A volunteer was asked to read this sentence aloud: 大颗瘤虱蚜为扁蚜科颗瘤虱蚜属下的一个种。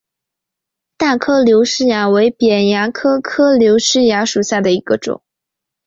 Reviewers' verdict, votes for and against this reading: accepted, 2, 1